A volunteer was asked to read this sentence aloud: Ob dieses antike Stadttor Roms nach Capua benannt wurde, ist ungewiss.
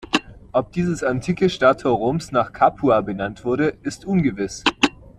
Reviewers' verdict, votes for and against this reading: accepted, 2, 0